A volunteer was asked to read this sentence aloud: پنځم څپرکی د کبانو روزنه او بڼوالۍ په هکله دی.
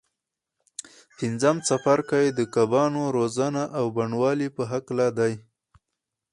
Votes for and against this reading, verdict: 4, 0, accepted